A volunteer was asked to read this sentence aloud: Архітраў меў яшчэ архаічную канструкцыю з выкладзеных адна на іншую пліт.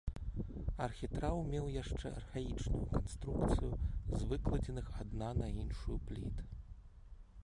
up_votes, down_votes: 1, 2